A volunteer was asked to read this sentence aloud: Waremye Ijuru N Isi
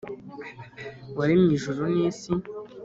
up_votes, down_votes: 2, 0